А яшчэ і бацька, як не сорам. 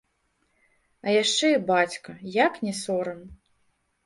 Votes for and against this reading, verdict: 2, 0, accepted